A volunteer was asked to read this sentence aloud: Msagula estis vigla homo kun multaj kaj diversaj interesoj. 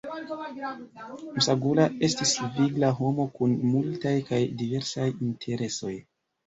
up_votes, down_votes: 0, 2